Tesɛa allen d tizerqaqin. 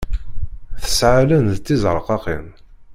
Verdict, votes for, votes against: rejected, 1, 2